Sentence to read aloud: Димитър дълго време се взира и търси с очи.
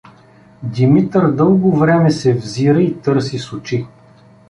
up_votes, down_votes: 2, 0